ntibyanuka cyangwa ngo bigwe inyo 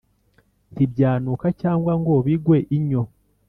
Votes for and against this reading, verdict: 4, 0, accepted